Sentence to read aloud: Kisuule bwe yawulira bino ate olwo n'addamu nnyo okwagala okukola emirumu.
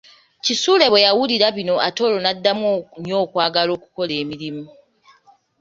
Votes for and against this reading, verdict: 1, 2, rejected